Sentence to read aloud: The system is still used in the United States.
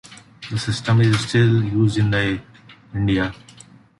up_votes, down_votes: 1, 2